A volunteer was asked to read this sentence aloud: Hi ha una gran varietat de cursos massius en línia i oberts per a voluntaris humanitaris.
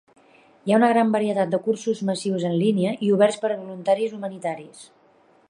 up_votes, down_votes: 3, 0